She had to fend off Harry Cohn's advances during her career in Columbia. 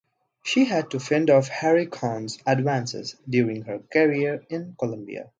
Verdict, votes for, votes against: accepted, 4, 0